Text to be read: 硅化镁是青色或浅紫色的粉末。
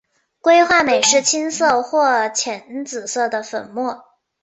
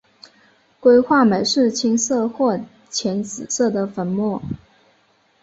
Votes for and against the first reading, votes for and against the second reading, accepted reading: 4, 0, 1, 2, first